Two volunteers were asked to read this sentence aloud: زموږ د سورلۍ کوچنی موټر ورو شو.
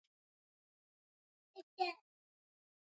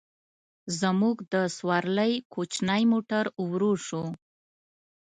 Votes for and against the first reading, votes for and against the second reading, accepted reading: 1, 2, 2, 0, second